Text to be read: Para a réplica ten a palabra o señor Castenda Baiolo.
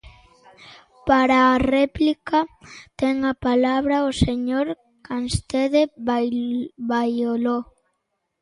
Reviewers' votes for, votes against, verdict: 0, 2, rejected